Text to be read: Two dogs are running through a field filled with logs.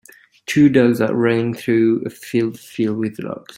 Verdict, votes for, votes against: accepted, 2, 0